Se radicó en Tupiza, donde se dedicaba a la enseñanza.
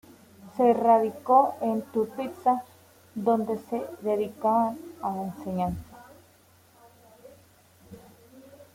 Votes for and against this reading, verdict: 2, 0, accepted